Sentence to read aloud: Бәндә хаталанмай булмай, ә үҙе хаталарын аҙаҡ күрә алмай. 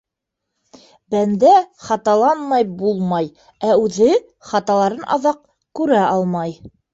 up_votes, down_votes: 2, 0